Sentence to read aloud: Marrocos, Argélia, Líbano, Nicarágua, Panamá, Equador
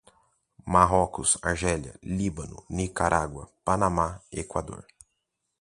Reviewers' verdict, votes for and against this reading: accepted, 2, 0